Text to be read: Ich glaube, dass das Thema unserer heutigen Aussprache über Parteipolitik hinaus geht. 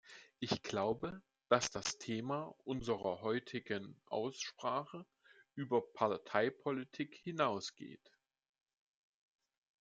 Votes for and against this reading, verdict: 2, 1, accepted